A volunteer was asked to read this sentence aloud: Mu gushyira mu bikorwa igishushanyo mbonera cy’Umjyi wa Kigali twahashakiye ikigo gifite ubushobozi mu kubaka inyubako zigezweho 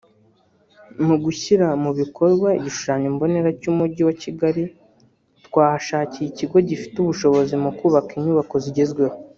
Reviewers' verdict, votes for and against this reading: rejected, 0, 2